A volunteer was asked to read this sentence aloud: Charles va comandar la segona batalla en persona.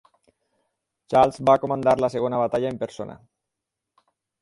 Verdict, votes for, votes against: accepted, 6, 2